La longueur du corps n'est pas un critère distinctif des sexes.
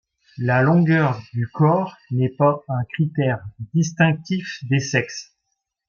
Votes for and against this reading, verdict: 2, 0, accepted